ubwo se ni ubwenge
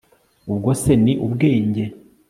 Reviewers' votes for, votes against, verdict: 2, 0, accepted